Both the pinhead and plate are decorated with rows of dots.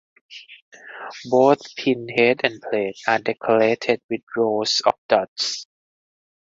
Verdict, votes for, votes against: rejected, 0, 2